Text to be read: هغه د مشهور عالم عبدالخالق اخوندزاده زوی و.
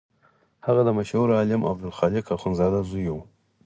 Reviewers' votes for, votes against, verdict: 4, 2, accepted